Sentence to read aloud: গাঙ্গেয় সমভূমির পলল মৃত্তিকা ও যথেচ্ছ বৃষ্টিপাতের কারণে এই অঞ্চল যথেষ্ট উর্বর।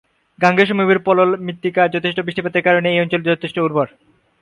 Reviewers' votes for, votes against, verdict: 0, 4, rejected